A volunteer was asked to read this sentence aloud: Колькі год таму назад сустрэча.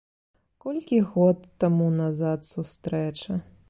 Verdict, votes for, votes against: accepted, 2, 0